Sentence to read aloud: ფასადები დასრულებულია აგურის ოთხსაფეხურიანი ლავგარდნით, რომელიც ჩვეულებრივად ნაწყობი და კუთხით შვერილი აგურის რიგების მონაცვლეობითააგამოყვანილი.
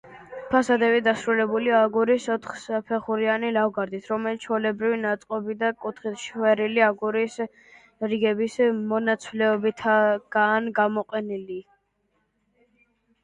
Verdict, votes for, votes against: rejected, 0, 2